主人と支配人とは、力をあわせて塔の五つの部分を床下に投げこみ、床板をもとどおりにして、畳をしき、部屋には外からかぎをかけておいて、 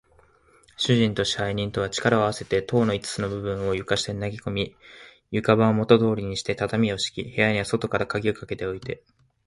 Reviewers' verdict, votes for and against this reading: accepted, 2, 1